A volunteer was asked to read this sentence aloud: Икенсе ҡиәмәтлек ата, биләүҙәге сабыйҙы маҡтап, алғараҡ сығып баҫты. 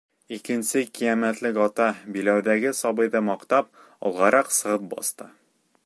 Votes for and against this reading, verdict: 2, 0, accepted